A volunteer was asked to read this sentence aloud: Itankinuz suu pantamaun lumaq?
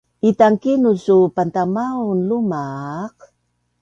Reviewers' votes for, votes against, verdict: 2, 0, accepted